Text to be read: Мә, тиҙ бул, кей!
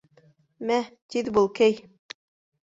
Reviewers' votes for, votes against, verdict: 2, 0, accepted